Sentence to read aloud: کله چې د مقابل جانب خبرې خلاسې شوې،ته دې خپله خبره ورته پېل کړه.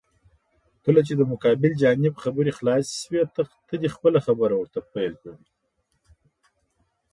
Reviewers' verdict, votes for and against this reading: rejected, 0, 2